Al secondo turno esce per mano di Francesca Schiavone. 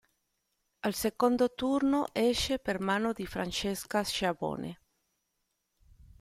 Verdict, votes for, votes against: rejected, 0, 2